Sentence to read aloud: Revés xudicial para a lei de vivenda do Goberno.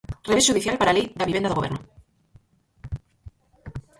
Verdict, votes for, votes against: rejected, 0, 4